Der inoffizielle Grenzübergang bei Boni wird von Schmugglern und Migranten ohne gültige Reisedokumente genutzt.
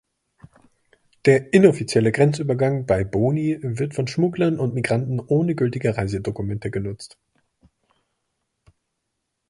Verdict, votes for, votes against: accepted, 3, 0